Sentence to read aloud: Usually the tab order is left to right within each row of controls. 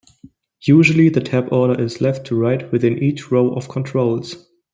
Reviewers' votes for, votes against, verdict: 2, 0, accepted